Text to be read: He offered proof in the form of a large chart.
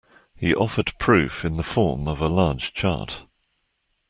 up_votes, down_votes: 2, 0